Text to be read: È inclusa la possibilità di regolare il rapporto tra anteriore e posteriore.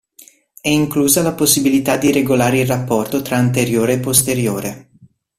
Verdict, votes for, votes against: accepted, 2, 0